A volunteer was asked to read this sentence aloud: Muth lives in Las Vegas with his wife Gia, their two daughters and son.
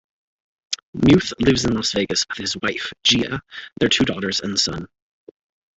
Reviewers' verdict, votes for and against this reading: rejected, 0, 2